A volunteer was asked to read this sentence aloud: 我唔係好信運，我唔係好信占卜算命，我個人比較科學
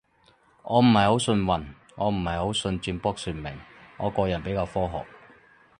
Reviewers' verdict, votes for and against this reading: accepted, 6, 0